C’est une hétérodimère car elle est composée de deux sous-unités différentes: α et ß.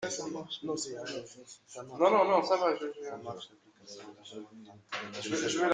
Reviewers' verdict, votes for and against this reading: rejected, 0, 2